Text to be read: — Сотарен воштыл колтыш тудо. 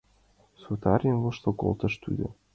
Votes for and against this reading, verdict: 2, 1, accepted